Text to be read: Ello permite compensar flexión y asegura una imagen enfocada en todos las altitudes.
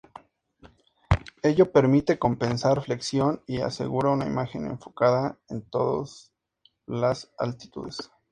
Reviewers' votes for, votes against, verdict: 2, 0, accepted